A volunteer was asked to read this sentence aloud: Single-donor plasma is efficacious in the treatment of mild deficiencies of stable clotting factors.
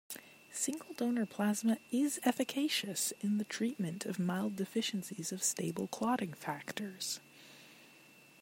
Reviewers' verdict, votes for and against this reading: accepted, 2, 0